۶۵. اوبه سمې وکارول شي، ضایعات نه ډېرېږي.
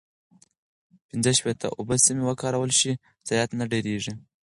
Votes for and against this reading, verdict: 0, 2, rejected